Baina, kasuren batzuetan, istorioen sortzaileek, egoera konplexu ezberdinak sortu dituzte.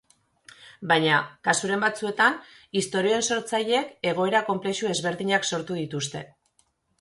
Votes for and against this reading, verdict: 2, 0, accepted